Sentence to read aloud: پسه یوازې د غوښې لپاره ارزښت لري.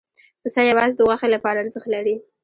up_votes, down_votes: 1, 2